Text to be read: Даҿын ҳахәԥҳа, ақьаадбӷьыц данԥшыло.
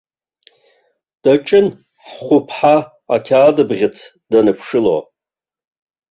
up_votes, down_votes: 0, 2